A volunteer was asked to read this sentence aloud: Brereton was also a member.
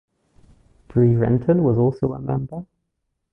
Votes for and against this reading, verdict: 1, 2, rejected